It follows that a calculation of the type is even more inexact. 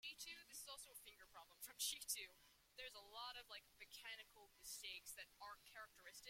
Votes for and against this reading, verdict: 0, 2, rejected